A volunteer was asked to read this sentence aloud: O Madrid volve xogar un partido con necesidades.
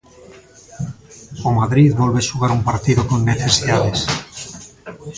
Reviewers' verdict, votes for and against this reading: accepted, 2, 0